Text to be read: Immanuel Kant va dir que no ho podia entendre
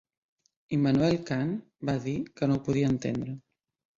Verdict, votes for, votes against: accepted, 3, 1